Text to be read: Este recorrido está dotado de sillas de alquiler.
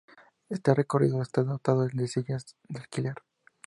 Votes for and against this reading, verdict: 2, 0, accepted